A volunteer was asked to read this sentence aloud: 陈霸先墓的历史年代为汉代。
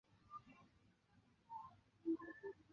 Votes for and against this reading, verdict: 0, 2, rejected